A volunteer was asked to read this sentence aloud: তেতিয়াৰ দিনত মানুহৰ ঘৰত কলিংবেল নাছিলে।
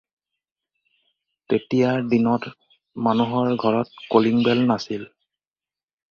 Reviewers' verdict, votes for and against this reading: rejected, 2, 4